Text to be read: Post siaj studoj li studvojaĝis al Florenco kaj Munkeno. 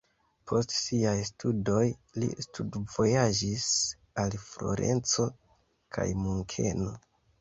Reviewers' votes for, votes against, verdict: 2, 0, accepted